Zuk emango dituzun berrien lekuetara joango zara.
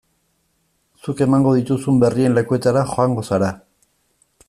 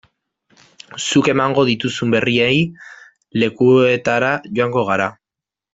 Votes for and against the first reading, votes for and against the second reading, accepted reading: 2, 0, 0, 2, first